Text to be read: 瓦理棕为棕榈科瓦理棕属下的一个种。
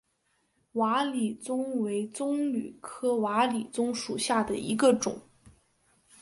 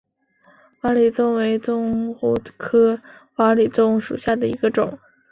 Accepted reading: first